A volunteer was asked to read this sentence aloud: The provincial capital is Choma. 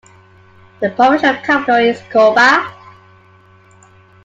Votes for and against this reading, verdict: 1, 2, rejected